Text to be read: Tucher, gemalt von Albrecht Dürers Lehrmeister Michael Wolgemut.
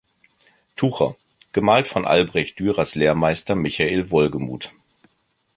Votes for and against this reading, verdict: 2, 0, accepted